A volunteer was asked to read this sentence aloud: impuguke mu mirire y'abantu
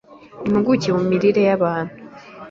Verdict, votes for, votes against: accepted, 2, 0